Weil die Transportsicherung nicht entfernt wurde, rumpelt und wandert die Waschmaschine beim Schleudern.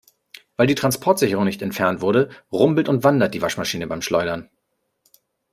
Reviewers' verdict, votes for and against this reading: accepted, 2, 0